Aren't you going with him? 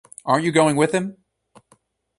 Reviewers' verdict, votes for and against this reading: accepted, 2, 0